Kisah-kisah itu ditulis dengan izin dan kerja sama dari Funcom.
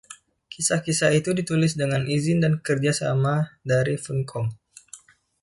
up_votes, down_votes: 1, 2